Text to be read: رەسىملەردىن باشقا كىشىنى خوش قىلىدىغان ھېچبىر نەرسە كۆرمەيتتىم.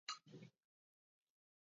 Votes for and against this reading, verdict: 0, 2, rejected